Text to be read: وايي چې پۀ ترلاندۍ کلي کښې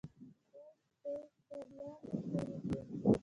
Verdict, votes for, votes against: rejected, 0, 2